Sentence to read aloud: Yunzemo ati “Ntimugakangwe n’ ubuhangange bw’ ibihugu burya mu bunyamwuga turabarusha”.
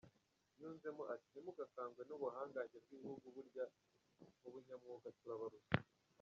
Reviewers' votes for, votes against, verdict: 1, 2, rejected